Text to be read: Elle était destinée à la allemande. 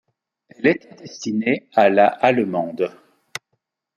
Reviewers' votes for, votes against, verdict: 0, 2, rejected